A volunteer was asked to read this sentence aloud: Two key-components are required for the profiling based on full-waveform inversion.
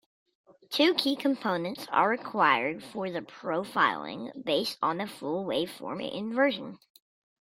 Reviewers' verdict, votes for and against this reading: accepted, 2, 0